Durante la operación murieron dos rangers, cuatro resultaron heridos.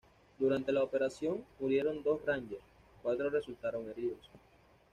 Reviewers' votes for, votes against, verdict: 2, 0, accepted